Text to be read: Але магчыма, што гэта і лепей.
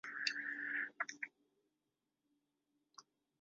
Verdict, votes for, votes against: rejected, 0, 2